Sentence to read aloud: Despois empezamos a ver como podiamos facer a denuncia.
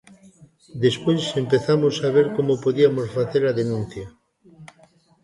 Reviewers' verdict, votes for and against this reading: rejected, 2, 3